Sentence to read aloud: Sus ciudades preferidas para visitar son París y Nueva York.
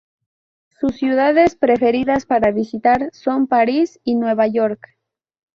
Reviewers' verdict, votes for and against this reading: accepted, 2, 0